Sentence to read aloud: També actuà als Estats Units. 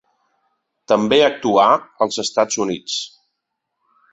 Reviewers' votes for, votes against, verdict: 3, 0, accepted